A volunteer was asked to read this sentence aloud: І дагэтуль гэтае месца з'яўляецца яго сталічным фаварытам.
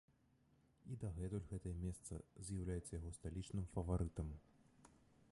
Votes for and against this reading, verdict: 1, 2, rejected